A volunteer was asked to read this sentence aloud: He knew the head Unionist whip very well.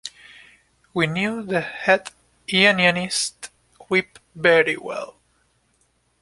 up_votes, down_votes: 0, 2